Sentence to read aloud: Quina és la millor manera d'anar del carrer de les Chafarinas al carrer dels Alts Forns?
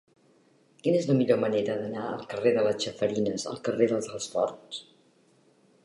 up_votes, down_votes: 0, 2